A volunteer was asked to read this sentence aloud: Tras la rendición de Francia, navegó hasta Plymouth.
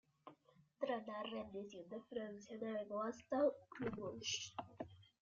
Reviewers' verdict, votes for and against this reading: rejected, 0, 2